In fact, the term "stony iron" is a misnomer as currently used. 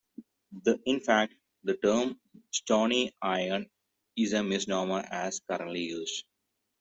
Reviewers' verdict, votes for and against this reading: accepted, 2, 0